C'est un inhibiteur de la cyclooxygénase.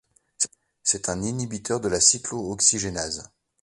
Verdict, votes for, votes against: rejected, 1, 2